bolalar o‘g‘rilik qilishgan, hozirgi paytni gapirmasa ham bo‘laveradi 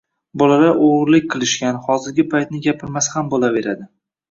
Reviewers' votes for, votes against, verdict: 1, 2, rejected